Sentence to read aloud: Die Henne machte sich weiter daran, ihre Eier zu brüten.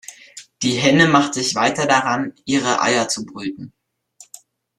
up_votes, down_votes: 0, 2